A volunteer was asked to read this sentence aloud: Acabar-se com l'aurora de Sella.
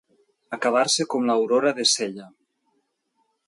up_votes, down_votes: 3, 0